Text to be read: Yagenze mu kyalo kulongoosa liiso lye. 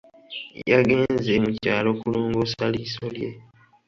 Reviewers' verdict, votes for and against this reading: accepted, 2, 0